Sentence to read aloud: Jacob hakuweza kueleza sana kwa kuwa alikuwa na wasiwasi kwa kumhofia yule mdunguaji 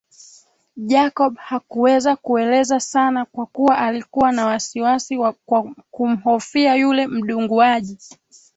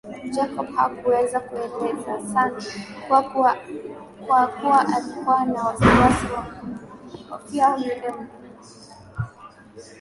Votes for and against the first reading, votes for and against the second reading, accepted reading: 2, 0, 1, 2, first